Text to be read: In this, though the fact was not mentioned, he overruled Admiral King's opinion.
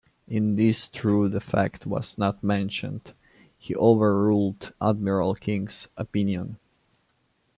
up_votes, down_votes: 0, 2